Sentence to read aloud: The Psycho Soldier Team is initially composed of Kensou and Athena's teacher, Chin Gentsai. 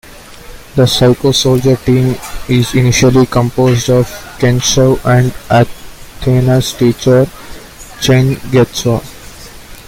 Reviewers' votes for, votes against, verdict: 0, 2, rejected